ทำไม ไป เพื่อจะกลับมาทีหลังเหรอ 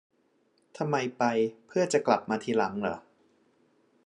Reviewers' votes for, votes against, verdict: 2, 0, accepted